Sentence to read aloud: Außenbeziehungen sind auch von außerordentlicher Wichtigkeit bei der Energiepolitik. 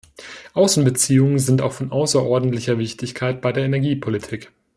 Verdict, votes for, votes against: accepted, 2, 0